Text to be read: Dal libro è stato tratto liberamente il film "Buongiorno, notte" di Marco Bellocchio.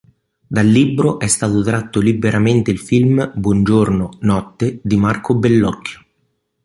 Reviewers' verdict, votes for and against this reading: accepted, 2, 0